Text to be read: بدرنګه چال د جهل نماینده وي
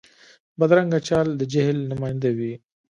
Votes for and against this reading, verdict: 2, 0, accepted